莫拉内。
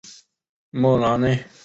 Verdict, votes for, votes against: accepted, 7, 0